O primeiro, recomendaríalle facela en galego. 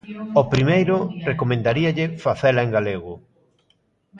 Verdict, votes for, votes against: accepted, 2, 0